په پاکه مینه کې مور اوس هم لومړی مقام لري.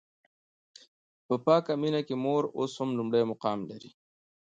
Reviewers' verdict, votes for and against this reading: accepted, 2, 0